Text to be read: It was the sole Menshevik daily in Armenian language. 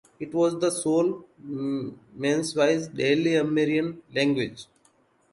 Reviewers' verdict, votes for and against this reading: rejected, 0, 2